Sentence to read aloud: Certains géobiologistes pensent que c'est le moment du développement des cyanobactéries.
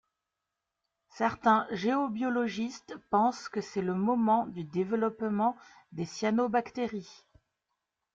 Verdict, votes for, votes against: accepted, 2, 0